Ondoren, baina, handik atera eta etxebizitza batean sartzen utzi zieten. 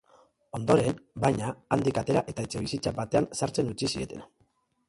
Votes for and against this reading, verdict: 0, 3, rejected